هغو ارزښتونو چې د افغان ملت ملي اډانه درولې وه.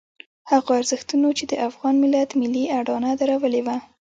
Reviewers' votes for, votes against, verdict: 2, 0, accepted